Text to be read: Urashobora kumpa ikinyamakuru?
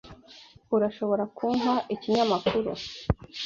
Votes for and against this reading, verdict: 3, 0, accepted